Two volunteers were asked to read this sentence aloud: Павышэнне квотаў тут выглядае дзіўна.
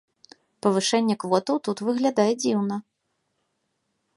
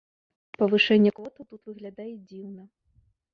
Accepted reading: first